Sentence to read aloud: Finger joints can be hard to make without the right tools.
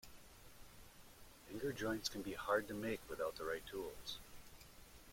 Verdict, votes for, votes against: rejected, 0, 2